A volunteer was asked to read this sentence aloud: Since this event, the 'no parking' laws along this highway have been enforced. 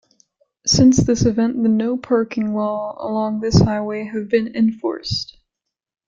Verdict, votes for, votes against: accepted, 2, 0